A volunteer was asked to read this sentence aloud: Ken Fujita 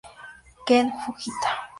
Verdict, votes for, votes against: rejected, 0, 2